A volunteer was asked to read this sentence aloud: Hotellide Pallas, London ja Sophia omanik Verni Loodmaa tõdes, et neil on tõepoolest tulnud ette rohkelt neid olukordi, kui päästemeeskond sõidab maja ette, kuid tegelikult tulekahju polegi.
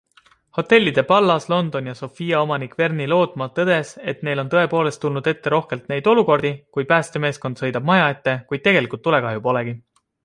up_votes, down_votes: 2, 0